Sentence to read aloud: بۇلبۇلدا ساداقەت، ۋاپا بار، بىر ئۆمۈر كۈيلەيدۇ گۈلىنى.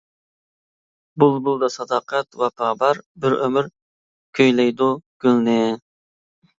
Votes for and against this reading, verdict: 1, 2, rejected